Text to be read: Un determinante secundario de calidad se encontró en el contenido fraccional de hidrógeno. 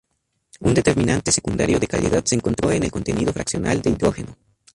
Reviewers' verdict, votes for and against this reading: rejected, 0, 2